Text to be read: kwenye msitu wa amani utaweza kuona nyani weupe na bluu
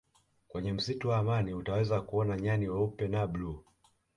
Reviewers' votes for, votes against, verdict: 2, 1, accepted